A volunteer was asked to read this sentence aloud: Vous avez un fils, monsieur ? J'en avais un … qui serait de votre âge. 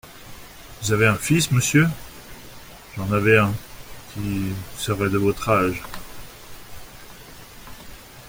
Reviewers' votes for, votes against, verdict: 2, 0, accepted